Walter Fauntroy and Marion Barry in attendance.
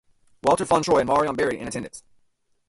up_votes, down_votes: 0, 2